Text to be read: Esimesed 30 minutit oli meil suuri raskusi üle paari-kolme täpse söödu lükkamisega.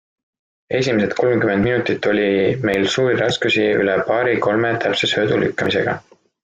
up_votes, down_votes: 0, 2